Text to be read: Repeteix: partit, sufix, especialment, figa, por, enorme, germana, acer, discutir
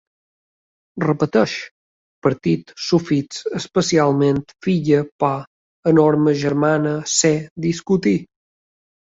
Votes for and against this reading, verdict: 2, 1, accepted